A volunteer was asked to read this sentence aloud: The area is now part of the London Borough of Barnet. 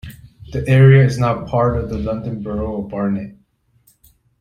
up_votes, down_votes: 1, 2